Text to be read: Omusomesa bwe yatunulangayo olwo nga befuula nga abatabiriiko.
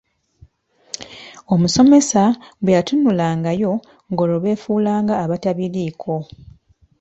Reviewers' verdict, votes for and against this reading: accepted, 2, 1